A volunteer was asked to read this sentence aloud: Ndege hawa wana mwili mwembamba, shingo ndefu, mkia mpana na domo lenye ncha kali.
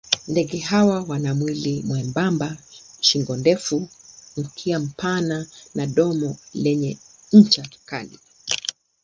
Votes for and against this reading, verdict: 2, 0, accepted